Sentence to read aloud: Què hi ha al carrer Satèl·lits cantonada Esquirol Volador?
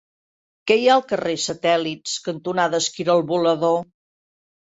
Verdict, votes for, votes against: accepted, 2, 0